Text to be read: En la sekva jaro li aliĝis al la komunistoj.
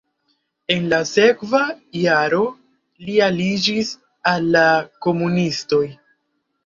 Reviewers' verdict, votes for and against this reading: rejected, 1, 2